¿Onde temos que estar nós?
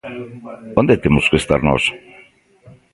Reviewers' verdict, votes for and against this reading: rejected, 0, 2